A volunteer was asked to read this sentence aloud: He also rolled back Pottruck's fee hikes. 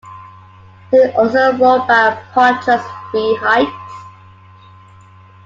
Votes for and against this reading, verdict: 1, 2, rejected